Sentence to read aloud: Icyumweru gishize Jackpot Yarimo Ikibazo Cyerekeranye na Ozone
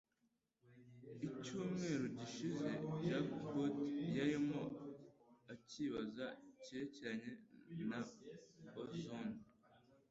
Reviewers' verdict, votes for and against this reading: rejected, 0, 2